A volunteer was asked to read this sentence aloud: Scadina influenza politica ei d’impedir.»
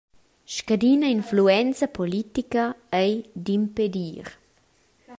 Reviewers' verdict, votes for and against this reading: accepted, 2, 1